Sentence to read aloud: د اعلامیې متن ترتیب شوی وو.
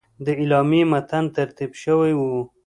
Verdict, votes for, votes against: accepted, 2, 0